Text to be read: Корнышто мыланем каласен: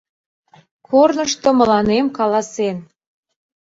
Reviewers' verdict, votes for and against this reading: accepted, 2, 0